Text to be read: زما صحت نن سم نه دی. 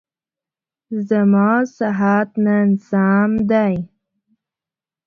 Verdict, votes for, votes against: rejected, 1, 2